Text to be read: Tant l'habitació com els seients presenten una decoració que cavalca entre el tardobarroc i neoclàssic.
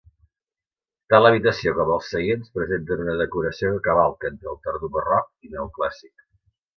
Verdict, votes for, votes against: rejected, 1, 2